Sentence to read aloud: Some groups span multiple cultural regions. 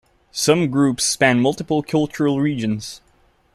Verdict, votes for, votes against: accepted, 3, 0